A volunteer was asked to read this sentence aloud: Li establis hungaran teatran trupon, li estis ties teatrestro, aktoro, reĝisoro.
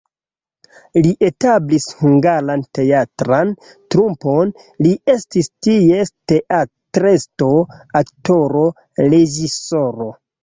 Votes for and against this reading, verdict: 0, 2, rejected